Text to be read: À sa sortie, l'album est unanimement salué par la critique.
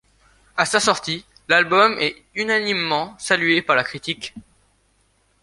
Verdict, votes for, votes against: accepted, 2, 0